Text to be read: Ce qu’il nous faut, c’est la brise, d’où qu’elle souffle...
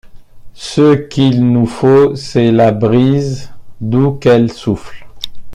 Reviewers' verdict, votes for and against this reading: accepted, 2, 1